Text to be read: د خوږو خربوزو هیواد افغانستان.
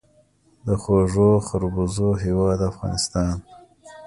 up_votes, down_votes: 2, 0